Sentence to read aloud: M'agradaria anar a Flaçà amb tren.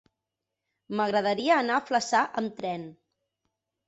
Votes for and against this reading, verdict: 4, 0, accepted